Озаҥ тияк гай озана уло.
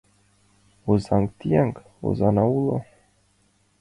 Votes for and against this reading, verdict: 0, 5, rejected